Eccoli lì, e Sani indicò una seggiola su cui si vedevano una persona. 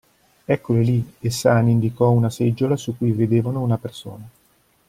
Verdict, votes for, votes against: rejected, 1, 2